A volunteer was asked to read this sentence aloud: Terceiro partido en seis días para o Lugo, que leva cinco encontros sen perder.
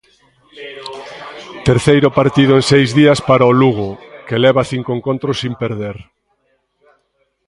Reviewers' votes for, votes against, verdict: 0, 2, rejected